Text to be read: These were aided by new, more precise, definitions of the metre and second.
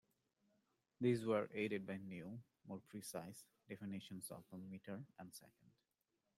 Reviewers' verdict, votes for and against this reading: accepted, 2, 0